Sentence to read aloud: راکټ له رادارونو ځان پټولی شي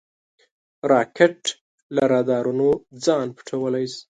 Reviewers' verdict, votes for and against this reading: accepted, 2, 0